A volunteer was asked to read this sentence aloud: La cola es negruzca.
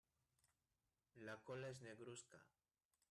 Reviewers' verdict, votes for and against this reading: rejected, 1, 2